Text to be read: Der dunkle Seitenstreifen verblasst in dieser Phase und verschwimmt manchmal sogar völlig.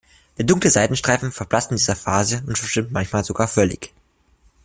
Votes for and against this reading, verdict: 1, 2, rejected